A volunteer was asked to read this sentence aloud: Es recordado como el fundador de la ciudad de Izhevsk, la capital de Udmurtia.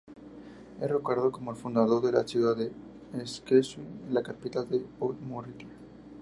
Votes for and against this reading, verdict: 0, 4, rejected